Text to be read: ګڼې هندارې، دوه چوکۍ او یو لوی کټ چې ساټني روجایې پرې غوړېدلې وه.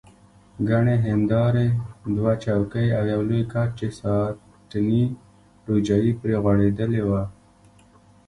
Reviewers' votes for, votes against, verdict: 2, 0, accepted